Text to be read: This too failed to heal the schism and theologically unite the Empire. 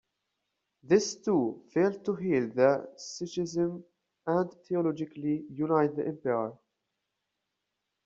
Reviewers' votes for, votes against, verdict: 0, 2, rejected